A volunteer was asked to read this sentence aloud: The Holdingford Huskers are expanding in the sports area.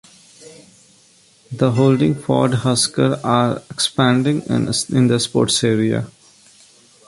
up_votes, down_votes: 0, 2